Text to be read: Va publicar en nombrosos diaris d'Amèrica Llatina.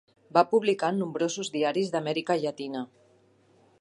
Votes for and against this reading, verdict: 2, 0, accepted